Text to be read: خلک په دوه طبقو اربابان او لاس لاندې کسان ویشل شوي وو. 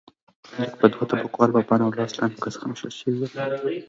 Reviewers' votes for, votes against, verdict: 0, 2, rejected